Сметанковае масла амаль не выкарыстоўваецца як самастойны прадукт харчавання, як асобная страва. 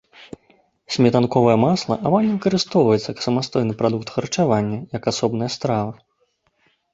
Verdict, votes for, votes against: accepted, 2, 0